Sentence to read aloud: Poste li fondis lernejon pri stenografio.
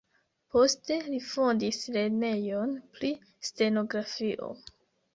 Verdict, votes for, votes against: rejected, 0, 2